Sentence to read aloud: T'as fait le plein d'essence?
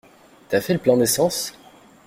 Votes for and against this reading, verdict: 2, 0, accepted